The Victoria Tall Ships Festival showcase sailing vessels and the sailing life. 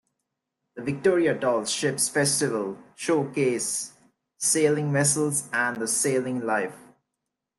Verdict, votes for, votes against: rejected, 0, 2